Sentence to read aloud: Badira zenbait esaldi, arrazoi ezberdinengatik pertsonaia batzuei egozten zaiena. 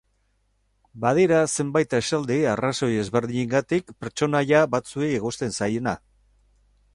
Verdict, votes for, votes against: accepted, 4, 0